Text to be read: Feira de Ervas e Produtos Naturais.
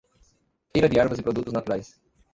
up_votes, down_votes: 1, 2